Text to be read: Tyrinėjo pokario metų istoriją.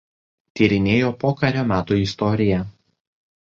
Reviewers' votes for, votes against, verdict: 2, 0, accepted